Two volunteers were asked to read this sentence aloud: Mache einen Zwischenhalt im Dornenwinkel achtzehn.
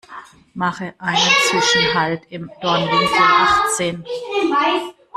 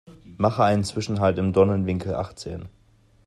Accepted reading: second